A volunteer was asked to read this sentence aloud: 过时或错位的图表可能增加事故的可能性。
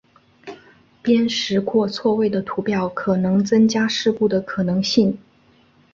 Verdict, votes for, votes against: accepted, 3, 0